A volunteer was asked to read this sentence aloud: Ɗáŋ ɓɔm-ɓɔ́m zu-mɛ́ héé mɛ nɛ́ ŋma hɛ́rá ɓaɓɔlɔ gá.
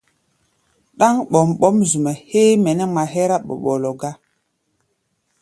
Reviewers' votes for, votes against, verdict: 0, 2, rejected